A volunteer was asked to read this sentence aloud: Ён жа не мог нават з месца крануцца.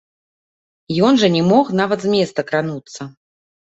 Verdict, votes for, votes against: rejected, 1, 2